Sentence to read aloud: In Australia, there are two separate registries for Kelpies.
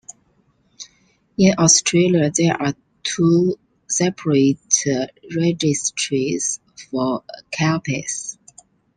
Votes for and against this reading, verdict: 1, 2, rejected